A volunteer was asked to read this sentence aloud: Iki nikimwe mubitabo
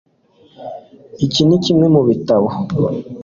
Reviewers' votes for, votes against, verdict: 2, 0, accepted